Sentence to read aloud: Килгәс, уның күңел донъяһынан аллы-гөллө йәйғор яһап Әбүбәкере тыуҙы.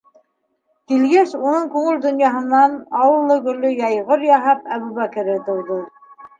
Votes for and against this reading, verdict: 2, 3, rejected